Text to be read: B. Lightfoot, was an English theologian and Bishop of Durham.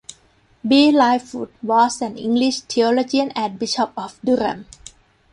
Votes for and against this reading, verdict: 2, 0, accepted